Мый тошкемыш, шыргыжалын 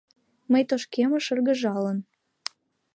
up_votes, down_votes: 2, 0